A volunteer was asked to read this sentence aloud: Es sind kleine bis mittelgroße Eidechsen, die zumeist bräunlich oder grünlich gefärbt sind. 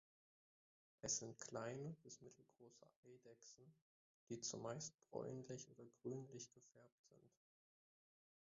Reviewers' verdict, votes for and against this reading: rejected, 0, 2